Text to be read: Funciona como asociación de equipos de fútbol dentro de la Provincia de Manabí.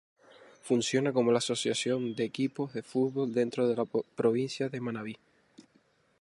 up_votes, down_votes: 0, 2